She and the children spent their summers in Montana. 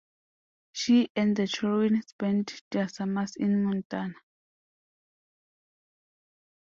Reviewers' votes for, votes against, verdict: 2, 0, accepted